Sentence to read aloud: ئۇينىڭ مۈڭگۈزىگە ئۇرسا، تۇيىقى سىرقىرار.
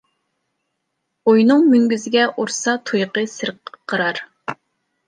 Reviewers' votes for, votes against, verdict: 0, 2, rejected